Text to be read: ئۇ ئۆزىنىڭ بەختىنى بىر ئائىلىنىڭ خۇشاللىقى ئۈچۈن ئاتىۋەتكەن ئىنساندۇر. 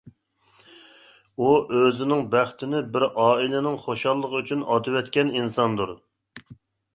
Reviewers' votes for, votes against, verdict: 4, 0, accepted